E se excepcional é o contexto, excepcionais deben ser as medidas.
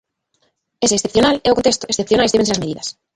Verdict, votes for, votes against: rejected, 0, 2